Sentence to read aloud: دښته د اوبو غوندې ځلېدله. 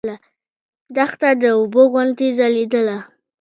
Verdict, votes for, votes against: accepted, 2, 0